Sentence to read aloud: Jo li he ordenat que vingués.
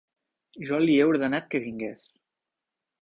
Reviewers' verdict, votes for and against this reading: accepted, 3, 0